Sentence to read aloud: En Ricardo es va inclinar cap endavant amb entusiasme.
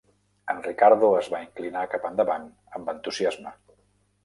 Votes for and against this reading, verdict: 1, 2, rejected